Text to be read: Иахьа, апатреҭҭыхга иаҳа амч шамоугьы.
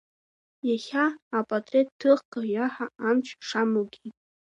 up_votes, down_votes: 1, 2